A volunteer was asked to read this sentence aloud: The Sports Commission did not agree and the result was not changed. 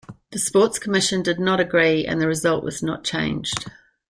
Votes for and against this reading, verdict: 2, 0, accepted